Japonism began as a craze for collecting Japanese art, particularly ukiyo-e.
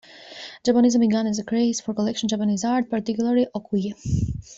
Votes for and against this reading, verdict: 0, 2, rejected